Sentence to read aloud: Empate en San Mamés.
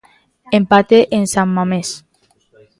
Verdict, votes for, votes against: accepted, 2, 0